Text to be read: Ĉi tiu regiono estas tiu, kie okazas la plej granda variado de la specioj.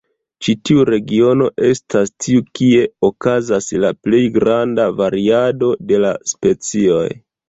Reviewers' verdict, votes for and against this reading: rejected, 1, 2